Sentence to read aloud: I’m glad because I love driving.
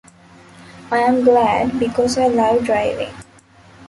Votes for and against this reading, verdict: 1, 2, rejected